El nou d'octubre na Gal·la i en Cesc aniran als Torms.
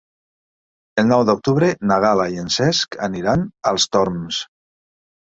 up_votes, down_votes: 4, 0